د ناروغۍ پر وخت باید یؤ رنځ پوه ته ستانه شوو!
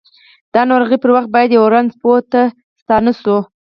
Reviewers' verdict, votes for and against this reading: rejected, 4, 6